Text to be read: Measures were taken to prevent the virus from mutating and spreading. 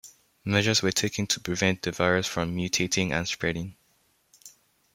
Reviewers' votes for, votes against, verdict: 2, 0, accepted